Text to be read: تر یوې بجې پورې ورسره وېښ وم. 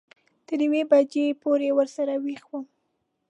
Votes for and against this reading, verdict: 2, 0, accepted